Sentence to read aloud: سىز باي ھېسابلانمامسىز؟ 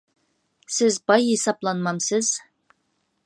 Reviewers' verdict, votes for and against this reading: accepted, 2, 0